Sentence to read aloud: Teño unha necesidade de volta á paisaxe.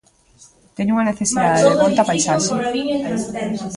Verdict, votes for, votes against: rejected, 0, 2